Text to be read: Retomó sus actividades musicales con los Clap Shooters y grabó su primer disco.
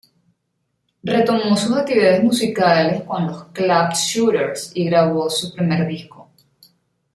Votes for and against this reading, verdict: 2, 1, accepted